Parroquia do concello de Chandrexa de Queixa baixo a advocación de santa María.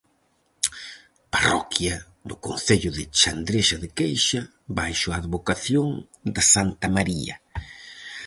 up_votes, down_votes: 4, 0